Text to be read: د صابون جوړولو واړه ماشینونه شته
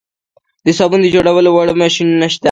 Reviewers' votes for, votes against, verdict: 2, 0, accepted